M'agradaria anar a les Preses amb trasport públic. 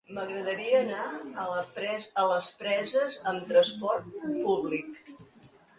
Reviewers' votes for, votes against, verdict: 0, 2, rejected